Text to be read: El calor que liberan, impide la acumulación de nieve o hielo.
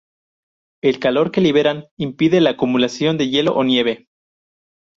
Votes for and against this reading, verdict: 0, 2, rejected